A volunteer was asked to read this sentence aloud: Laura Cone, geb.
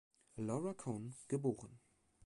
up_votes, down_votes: 1, 2